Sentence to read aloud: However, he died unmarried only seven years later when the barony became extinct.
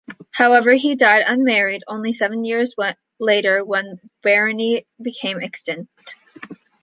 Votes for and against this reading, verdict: 2, 1, accepted